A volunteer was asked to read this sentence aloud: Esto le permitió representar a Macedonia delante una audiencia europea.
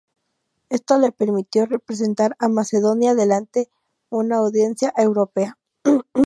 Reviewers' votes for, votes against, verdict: 2, 0, accepted